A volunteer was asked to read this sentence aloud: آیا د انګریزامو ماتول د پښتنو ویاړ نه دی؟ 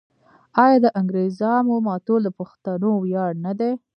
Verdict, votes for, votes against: rejected, 0, 2